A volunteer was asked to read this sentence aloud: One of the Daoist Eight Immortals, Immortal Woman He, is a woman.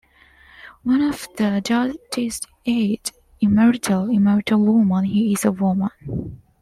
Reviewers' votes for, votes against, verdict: 1, 2, rejected